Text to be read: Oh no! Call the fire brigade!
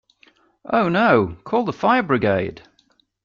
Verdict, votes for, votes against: accepted, 2, 0